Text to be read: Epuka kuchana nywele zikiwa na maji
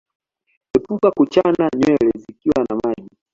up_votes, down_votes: 2, 0